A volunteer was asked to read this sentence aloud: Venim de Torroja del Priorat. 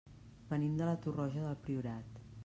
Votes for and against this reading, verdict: 0, 2, rejected